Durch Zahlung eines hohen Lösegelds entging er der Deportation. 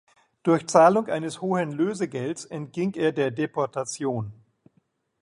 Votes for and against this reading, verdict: 2, 0, accepted